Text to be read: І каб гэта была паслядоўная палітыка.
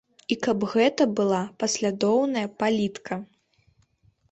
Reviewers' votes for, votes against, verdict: 0, 2, rejected